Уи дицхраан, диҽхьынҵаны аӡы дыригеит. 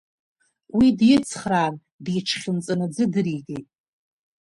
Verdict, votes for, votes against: rejected, 1, 2